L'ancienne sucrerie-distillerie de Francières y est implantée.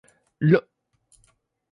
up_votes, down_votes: 0, 2